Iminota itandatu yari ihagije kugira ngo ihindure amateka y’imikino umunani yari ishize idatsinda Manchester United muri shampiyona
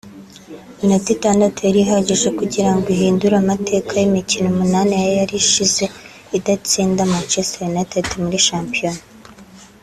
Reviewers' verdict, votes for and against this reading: accepted, 2, 0